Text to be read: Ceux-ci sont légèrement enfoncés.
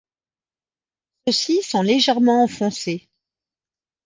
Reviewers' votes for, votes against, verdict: 1, 2, rejected